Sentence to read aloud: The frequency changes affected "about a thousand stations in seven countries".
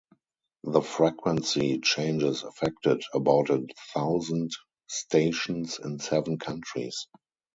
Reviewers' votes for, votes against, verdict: 2, 2, rejected